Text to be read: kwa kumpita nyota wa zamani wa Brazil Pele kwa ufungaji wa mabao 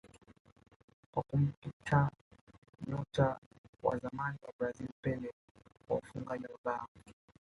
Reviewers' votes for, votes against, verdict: 0, 2, rejected